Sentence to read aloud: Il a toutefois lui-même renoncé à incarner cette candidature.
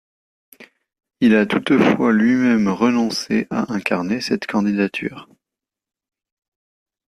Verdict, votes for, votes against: accepted, 2, 0